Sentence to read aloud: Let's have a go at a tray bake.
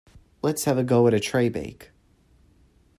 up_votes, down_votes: 2, 0